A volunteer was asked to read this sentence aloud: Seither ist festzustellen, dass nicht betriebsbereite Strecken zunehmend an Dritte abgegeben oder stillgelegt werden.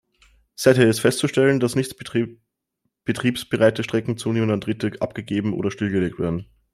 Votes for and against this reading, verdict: 0, 2, rejected